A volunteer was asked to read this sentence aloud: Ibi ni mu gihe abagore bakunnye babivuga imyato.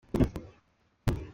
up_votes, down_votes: 0, 3